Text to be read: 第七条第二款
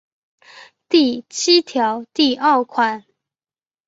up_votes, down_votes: 3, 0